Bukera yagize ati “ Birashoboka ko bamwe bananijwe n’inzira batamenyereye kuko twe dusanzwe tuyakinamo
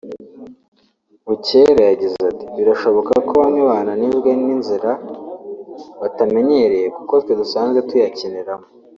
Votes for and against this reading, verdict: 1, 2, rejected